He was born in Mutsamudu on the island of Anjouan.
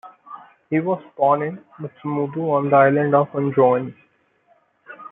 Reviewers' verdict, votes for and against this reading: rejected, 0, 2